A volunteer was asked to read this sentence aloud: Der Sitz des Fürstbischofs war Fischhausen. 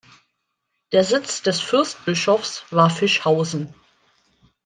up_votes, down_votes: 2, 0